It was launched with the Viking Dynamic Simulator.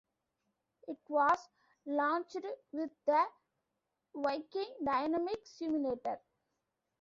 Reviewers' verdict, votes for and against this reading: rejected, 1, 2